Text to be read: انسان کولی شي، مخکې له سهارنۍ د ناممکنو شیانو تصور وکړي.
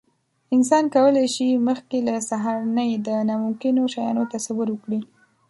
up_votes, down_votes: 2, 0